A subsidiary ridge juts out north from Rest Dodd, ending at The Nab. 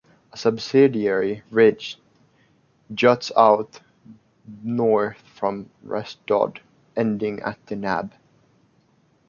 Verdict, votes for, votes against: accepted, 2, 0